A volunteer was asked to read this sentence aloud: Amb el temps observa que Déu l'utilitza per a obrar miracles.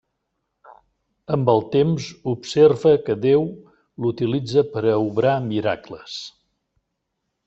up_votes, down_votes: 3, 0